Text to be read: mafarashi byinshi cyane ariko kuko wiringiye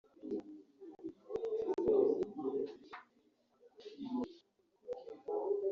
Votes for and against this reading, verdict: 0, 2, rejected